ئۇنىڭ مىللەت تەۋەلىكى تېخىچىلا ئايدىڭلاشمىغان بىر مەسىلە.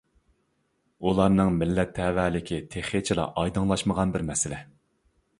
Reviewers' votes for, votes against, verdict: 0, 2, rejected